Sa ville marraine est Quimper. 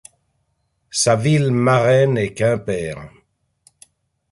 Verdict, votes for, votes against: accepted, 2, 0